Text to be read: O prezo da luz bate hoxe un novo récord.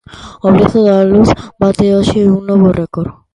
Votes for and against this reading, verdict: 0, 2, rejected